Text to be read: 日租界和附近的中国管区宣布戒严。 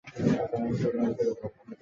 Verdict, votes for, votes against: rejected, 0, 2